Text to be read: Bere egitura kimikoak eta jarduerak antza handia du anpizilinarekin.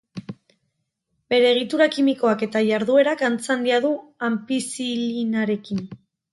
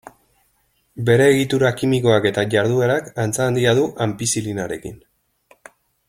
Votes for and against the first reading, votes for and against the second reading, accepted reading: 0, 2, 2, 0, second